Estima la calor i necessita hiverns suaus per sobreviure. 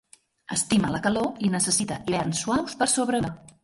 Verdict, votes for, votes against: rejected, 0, 2